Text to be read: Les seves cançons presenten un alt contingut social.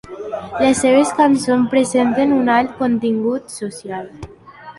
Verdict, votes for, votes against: accepted, 3, 0